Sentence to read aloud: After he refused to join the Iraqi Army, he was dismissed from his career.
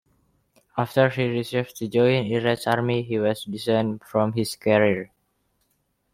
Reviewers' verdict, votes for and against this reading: rejected, 1, 2